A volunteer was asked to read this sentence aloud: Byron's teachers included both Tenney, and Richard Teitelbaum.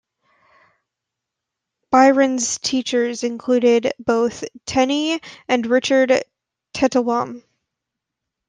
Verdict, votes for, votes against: rejected, 1, 2